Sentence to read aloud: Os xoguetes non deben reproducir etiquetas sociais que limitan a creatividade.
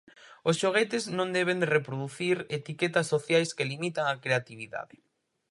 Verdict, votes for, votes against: rejected, 0, 4